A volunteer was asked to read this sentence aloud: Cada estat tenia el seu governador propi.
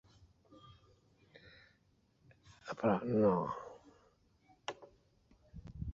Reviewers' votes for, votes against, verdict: 0, 2, rejected